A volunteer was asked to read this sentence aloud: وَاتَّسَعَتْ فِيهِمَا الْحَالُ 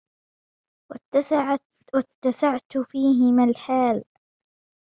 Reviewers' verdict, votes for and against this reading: rejected, 0, 2